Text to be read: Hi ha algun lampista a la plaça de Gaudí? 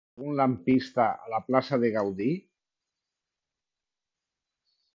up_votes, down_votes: 0, 2